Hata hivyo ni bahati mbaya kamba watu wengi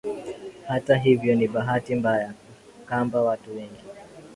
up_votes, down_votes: 2, 0